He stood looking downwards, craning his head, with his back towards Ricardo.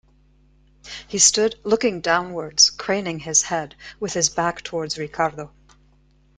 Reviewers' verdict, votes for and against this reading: accepted, 2, 0